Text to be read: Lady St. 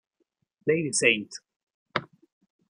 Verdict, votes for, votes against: rejected, 1, 2